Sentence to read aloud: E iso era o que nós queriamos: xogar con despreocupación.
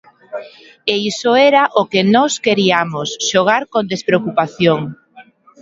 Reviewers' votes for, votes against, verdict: 2, 0, accepted